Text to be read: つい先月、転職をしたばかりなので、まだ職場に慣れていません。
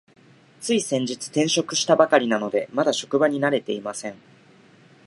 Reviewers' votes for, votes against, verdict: 0, 2, rejected